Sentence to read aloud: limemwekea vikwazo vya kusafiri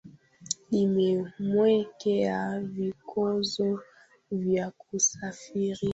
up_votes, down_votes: 1, 2